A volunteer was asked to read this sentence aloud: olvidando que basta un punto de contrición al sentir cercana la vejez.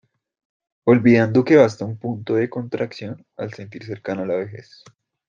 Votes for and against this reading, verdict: 0, 2, rejected